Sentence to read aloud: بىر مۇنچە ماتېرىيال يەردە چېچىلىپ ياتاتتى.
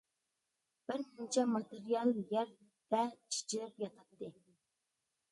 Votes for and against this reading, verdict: 0, 2, rejected